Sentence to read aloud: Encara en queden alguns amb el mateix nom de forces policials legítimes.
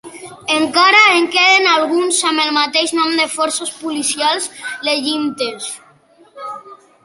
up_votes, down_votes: 0, 2